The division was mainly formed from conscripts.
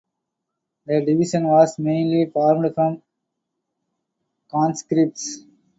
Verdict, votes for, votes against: accepted, 2, 0